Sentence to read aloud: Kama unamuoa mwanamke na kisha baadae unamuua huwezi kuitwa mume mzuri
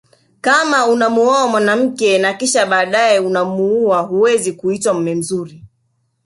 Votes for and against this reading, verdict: 4, 0, accepted